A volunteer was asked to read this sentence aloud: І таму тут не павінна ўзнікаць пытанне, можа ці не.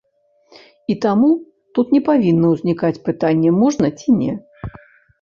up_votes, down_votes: 1, 2